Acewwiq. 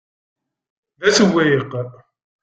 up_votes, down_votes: 1, 2